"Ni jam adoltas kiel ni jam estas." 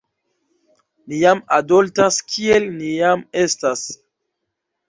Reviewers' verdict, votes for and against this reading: accepted, 2, 0